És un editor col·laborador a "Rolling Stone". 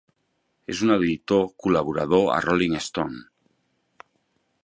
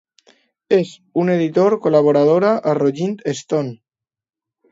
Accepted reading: first